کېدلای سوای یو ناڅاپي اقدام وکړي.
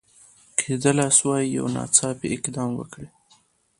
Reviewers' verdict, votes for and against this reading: accepted, 2, 0